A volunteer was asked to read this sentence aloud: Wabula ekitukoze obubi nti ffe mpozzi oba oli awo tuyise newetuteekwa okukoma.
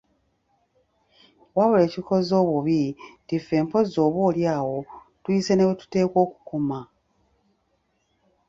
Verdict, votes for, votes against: rejected, 2, 3